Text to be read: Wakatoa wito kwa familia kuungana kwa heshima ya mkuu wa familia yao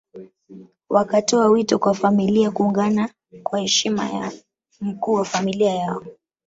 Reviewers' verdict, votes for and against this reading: accepted, 2, 0